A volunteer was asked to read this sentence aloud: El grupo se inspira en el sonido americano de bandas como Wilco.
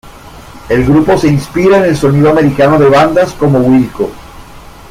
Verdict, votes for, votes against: accepted, 2, 0